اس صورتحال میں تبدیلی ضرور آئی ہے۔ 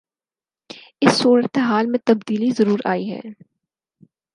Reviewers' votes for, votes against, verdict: 6, 0, accepted